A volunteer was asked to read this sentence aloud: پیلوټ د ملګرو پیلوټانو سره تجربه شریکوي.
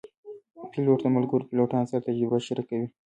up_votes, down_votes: 1, 2